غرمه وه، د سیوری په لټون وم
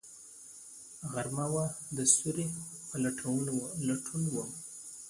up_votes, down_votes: 2, 0